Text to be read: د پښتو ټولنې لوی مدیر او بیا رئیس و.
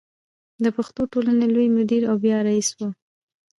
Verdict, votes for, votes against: rejected, 1, 2